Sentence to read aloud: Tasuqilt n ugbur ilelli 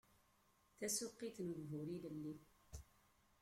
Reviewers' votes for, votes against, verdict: 0, 2, rejected